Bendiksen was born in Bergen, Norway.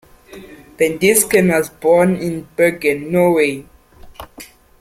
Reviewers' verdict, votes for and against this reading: rejected, 1, 2